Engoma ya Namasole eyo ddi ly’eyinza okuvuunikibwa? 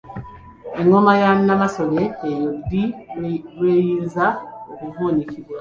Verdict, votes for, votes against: rejected, 0, 2